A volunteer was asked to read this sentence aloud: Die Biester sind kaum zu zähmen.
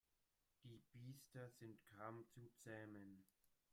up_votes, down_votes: 0, 2